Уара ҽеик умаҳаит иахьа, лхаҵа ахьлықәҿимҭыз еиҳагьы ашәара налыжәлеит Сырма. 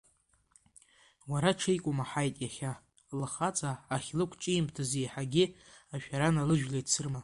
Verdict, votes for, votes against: accepted, 2, 0